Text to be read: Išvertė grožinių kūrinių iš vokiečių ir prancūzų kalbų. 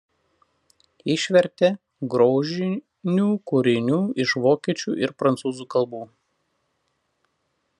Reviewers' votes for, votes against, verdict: 0, 2, rejected